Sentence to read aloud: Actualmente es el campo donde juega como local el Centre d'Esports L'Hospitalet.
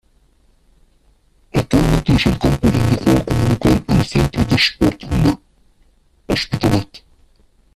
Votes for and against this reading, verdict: 0, 2, rejected